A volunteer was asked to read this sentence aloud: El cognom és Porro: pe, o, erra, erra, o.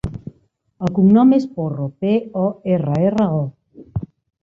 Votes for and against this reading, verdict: 2, 0, accepted